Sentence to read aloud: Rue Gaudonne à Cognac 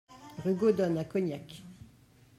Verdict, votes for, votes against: rejected, 1, 2